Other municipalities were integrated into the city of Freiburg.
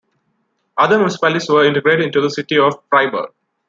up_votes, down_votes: 2, 1